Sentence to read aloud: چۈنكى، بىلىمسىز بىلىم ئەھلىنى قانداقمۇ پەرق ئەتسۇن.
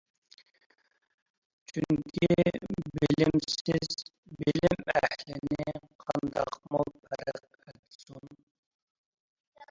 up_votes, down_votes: 0, 2